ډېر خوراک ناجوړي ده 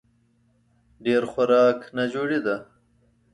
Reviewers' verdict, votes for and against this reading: accepted, 2, 0